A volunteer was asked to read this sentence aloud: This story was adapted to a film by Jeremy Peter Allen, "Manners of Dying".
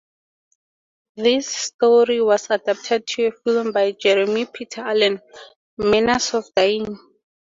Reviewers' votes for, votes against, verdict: 4, 0, accepted